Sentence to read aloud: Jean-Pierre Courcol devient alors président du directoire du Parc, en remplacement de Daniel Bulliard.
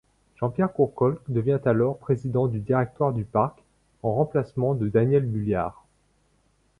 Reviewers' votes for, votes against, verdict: 2, 0, accepted